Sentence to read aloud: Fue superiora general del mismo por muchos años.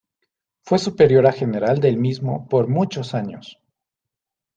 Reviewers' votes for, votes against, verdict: 2, 0, accepted